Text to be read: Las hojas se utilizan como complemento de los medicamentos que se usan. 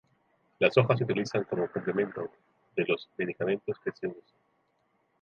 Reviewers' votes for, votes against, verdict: 0, 2, rejected